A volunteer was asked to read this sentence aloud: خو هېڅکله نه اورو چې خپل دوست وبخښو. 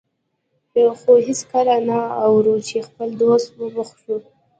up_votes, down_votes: 1, 2